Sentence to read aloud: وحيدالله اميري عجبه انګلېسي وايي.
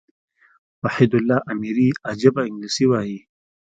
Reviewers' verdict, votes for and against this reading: accepted, 2, 0